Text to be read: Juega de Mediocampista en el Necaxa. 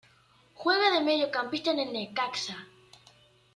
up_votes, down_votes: 2, 0